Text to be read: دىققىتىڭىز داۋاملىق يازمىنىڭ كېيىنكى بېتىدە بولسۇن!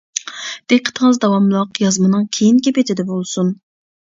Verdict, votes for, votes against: accepted, 2, 0